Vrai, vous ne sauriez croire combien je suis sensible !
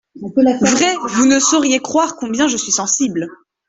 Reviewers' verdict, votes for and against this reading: rejected, 1, 2